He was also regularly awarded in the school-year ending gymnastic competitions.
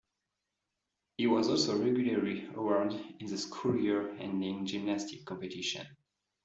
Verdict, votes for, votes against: rejected, 1, 2